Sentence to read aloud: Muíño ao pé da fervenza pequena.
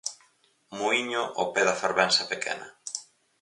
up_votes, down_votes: 4, 0